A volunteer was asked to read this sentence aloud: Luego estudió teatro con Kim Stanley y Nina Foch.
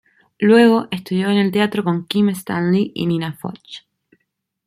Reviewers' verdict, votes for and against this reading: rejected, 1, 2